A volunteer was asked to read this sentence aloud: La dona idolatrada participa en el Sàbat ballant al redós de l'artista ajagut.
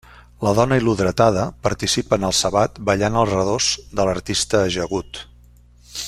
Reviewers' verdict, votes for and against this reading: rejected, 0, 2